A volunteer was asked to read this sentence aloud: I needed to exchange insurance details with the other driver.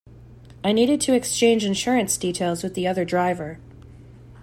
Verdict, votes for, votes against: accepted, 2, 0